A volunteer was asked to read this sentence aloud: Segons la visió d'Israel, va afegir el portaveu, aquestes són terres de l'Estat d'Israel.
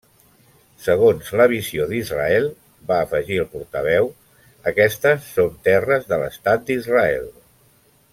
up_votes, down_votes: 3, 0